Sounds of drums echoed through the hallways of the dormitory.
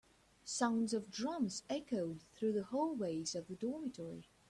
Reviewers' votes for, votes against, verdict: 1, 2, rejected